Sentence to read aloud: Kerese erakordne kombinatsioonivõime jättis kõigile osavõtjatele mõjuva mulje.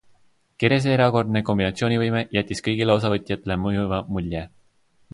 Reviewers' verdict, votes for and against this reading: accepted, 2, 0